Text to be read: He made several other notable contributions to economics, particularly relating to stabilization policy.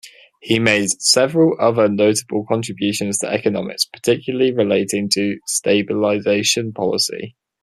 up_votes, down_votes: 2, 0